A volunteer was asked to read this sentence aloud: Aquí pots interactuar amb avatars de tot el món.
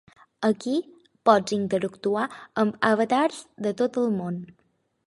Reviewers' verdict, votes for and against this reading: accepted, 6, 0